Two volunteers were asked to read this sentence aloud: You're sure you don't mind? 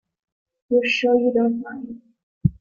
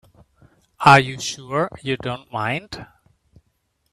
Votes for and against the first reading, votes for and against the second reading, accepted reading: 3, 1, 0, 2, first